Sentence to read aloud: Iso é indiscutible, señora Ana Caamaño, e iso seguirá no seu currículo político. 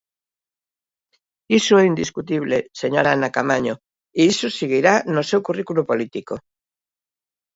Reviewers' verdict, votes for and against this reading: accepted, 2, 0